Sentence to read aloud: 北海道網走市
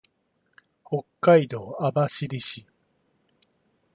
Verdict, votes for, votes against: accepted, 2, 0